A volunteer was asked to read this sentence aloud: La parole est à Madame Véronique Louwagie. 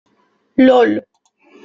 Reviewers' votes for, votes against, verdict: 0, 2, rejected